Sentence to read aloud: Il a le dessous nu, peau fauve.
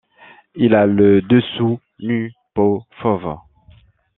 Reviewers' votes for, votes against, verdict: 1, 2, rejected